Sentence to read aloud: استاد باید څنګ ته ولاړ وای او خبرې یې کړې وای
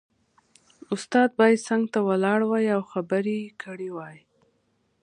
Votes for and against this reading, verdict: 2, 0, accepted